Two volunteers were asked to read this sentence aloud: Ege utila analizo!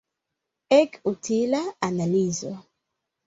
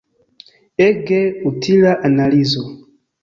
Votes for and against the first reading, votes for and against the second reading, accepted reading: 1, 3, 2, 0, second